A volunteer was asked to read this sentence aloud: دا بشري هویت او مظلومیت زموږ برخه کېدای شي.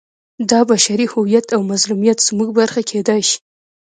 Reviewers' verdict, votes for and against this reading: rejected, 1, 2